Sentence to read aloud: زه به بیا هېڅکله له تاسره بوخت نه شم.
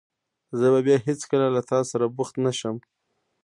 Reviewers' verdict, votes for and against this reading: rejected, 0, 2